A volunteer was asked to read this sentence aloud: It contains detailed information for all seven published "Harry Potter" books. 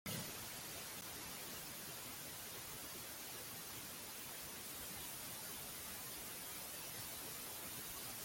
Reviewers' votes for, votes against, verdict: 0, 2, rejected